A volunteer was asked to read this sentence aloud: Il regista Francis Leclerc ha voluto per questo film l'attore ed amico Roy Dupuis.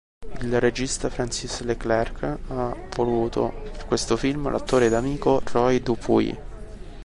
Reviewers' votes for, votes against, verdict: 1, 2, rejected